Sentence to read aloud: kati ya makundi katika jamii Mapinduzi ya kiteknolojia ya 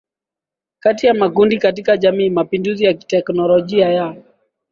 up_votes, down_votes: 4, 0